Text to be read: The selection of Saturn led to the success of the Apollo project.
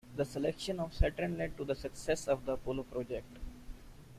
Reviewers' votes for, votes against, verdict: 2, 0, accepted